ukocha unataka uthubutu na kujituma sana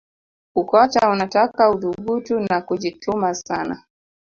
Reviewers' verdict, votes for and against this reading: accepted, 2, 0